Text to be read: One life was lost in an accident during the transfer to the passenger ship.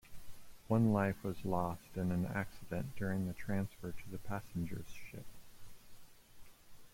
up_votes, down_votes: 2, 1